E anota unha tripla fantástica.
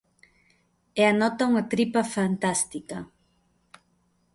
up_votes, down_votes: 0, 2